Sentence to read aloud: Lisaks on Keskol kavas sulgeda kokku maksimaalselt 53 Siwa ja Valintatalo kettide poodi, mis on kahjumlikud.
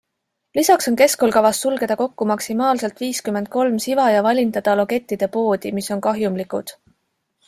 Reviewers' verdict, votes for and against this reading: rejected, 0, 2